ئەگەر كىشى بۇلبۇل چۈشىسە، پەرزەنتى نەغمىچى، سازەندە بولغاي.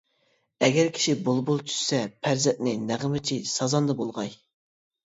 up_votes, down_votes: 0, 2